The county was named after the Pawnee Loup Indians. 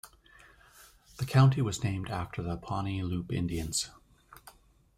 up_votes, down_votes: 2, 0